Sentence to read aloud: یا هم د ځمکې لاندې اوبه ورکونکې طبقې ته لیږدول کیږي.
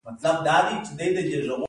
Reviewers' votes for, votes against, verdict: 0, 2, rejected